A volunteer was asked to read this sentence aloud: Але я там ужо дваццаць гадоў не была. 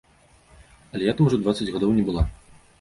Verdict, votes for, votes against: rejected, 1, 2